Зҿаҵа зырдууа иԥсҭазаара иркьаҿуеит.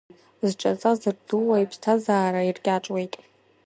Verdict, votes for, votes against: accepted, 2, 0